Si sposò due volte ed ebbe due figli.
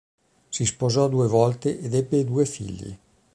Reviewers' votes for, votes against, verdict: 3, 0, accepted